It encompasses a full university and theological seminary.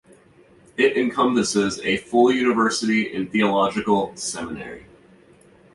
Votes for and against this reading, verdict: 2, 0, accepted